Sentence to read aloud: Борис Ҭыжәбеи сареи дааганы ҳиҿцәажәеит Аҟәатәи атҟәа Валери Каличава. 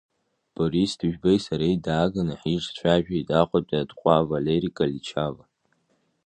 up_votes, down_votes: 2, 0